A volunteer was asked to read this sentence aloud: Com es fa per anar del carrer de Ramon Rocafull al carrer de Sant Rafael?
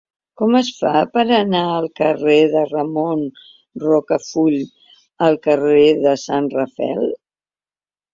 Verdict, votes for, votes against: rejected, 0, 2